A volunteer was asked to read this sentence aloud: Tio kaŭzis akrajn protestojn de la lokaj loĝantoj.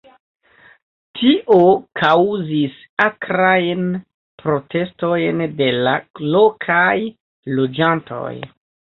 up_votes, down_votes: 2, 0